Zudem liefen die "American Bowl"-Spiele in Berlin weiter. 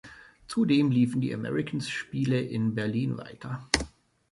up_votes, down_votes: 0, 3